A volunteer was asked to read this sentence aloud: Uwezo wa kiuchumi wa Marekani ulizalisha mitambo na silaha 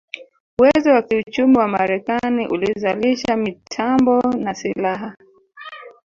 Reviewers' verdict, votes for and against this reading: rejected, 1, 2